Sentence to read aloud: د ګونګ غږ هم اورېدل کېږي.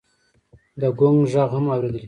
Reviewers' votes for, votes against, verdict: 2, 0, accepted